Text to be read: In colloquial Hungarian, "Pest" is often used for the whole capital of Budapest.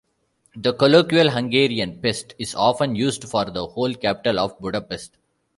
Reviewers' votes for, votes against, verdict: 1, 2, rejected